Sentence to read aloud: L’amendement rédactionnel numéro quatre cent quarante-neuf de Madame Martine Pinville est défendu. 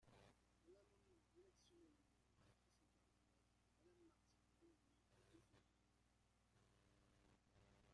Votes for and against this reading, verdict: 0, 2, rejected